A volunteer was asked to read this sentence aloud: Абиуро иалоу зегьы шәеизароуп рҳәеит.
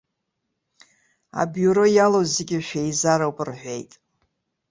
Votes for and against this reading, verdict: 2, 0, accepted